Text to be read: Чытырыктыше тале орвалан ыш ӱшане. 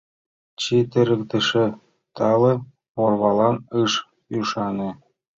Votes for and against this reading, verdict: 2, 0, accepted